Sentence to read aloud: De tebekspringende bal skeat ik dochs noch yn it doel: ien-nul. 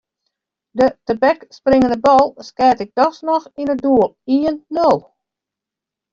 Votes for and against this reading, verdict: 0, 2, rejected